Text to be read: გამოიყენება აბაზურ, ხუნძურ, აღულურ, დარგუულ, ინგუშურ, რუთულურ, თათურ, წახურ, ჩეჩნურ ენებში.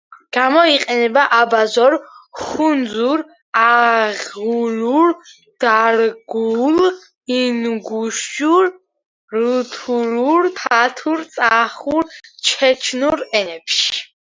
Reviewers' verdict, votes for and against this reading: accepted, 2, 1